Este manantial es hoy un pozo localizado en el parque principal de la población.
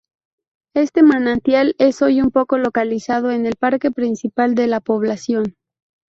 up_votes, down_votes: 2, 2